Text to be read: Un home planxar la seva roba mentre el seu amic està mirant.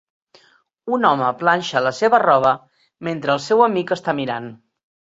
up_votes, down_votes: 2, 3